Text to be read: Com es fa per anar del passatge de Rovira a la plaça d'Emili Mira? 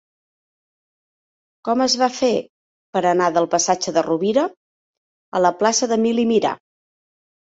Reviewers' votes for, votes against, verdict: 1, 3, rejected